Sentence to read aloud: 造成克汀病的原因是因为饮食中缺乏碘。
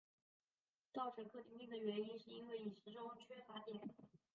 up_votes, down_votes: 0, 2